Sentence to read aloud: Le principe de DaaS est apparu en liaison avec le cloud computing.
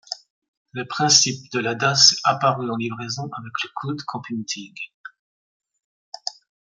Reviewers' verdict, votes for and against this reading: rejected, 1, 2